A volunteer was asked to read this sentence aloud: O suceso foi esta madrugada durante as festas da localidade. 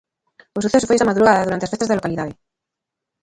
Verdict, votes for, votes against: rejected, 0, 2